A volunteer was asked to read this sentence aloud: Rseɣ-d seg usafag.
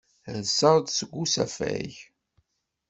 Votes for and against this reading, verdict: 2, 0, accepted